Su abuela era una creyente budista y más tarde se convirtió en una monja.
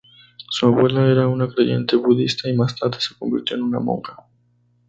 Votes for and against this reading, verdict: 2, 0, accepted